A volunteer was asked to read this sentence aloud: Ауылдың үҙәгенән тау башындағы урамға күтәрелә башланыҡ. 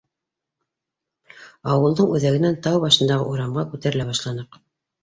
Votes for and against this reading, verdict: 2, 0, accepted